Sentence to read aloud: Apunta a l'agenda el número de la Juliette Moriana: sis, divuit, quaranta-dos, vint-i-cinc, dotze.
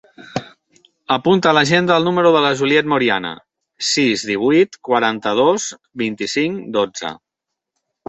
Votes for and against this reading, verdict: 3, 0, accepted